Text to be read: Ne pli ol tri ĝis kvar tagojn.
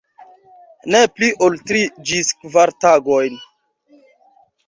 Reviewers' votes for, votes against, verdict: 2, 1, accepted